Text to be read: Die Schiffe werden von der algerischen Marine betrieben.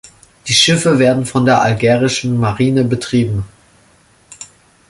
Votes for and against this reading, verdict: 2, 0, accepted